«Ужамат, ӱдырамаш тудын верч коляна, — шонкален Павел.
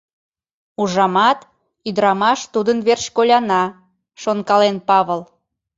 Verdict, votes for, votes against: rejected, 1, 2